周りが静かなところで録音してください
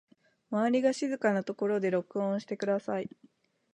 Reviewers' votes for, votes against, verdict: 2, 0, accepted